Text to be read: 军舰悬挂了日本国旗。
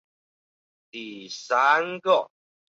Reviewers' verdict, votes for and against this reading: rejected, 0, 2